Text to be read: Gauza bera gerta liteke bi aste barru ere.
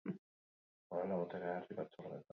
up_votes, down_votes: 2, 0